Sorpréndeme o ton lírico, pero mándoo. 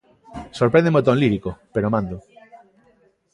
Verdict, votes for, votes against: accepted, 2, 0